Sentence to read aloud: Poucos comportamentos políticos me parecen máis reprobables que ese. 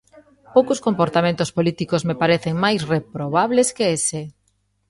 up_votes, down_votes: 2, 0